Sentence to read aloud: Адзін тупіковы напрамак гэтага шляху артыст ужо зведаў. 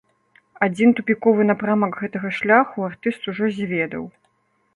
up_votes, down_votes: 2, 0